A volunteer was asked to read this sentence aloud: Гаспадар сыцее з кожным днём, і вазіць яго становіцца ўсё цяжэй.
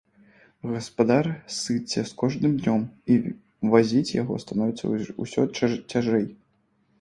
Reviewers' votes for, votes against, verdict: 1, 2, rejected